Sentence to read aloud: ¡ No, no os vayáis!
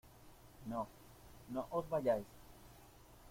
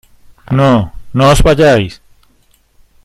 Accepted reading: first